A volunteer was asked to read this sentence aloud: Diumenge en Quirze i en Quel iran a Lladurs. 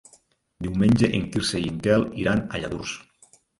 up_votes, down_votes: 3, 1